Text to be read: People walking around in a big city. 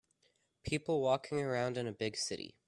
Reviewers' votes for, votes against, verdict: 2, 0, accepted